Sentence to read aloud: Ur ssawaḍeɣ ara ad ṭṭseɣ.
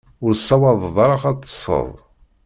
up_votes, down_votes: 0, 2